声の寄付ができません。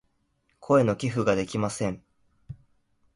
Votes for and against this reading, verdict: 4, 0, accepted